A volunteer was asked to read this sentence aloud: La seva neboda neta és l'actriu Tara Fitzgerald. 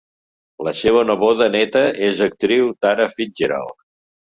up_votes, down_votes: 0, 2